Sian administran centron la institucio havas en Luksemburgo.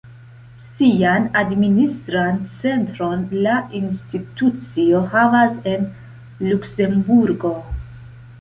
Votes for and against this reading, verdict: 2, 0, accepted